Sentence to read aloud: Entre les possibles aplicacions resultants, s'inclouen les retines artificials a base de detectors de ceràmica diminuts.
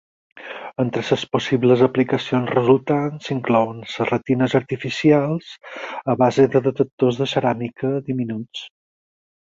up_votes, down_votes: 4, 2